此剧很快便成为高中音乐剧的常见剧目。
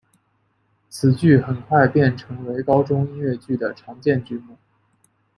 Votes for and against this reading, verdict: 2, 0, accepted